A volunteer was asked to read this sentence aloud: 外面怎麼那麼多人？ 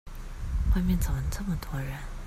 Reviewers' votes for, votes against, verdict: 0, 2, rejected